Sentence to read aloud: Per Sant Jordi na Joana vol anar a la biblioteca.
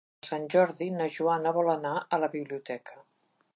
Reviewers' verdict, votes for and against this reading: rejected, 0, 2